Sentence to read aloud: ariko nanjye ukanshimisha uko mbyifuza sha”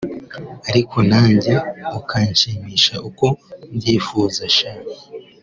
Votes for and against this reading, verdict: 2, 0, accepted